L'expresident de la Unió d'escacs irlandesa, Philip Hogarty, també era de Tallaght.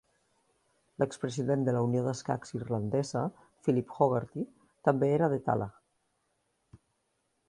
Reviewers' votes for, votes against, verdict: 3, 0, accepted